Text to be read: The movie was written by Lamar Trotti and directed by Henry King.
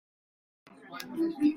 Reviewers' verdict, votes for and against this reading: rejected, 0, 2